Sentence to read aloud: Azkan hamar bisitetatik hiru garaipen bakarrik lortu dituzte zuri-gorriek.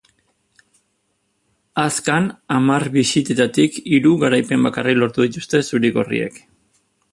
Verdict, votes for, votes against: accepted, 4, 0